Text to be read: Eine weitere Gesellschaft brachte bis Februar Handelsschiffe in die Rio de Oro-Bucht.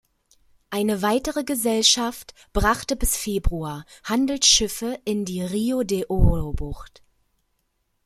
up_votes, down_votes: 2, 0